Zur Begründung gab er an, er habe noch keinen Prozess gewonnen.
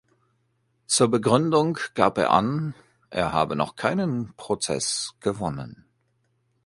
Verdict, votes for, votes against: accepted, 2, 0